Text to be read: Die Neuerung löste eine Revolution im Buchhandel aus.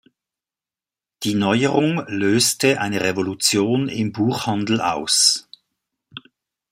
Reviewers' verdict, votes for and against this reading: accepted, 2, 0